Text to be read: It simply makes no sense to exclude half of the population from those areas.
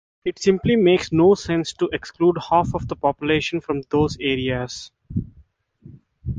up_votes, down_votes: 3, 0